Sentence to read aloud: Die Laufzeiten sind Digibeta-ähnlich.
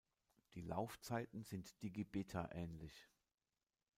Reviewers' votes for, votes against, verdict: 1, 2, rejected